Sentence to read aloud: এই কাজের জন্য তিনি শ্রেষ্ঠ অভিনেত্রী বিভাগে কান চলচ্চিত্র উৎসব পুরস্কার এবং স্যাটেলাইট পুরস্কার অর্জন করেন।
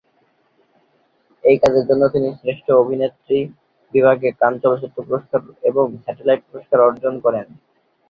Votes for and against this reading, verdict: 0, 2, rejected